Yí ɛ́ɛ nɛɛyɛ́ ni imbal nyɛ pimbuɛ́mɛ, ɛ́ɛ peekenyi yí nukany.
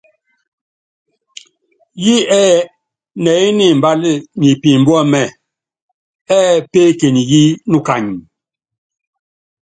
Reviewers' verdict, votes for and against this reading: accepted, 2, 0